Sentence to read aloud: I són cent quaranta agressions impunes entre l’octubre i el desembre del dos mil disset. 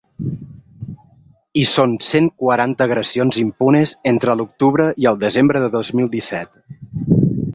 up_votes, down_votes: 2, 0